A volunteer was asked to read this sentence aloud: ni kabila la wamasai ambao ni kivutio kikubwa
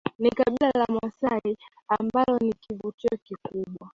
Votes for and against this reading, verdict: 2, 1, accepted